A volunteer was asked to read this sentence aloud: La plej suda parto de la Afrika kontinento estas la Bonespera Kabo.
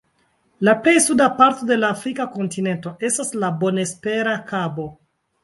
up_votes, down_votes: 2, 0